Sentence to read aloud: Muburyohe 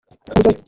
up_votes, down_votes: 0, 2